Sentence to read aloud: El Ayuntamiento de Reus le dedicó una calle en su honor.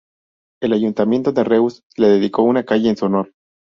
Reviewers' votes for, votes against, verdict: 0, 2, rejected